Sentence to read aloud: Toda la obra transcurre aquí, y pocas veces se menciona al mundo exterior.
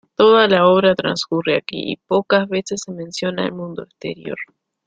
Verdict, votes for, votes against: rejected, 1, 2